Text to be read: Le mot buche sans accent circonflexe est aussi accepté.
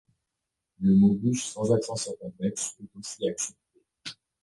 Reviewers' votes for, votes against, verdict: 1, 2, rejected